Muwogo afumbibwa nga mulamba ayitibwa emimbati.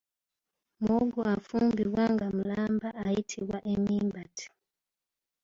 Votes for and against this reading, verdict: 0, 2, rejected